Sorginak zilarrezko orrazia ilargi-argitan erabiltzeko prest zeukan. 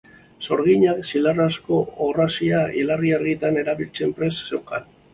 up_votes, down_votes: 2, 2